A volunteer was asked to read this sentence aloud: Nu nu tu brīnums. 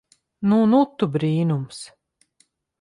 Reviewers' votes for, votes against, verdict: 2, 0, accepted